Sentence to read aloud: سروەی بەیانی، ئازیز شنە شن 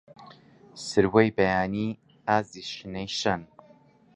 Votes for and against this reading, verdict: 0, 2, rejected